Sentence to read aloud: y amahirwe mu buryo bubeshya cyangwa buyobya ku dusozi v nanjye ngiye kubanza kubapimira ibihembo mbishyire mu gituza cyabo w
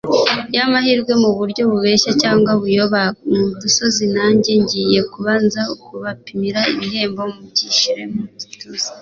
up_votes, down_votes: 1, 2